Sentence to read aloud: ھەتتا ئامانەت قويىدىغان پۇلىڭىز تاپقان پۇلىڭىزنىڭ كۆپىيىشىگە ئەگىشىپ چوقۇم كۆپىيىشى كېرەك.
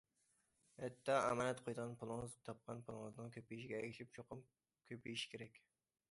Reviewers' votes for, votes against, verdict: 2, 0, accepted